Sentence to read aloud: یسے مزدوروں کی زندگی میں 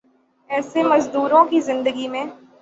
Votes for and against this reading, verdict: 0, 3, rejected